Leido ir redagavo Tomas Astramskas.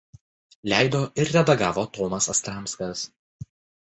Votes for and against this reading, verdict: 2, 0, accepted